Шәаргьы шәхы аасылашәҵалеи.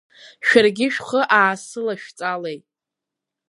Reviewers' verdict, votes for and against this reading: rejected, 2, 3